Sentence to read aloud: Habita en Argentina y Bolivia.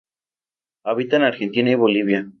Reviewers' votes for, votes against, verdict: 2, 0, accepted